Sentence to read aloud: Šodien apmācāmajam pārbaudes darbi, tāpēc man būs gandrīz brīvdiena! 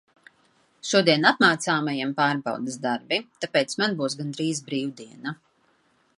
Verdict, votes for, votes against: rejected, 0, 2